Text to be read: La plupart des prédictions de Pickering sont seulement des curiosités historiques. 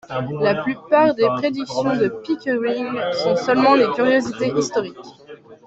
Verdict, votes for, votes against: accepted, 2, 0